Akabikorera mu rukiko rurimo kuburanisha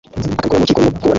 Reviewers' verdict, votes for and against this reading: rejected, 0, 2